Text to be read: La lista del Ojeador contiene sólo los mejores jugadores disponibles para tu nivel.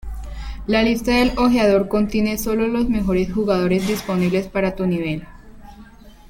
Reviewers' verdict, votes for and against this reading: accepted, 2, 0